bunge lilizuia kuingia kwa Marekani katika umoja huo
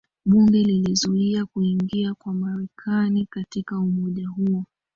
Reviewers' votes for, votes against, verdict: 0, 2, rejected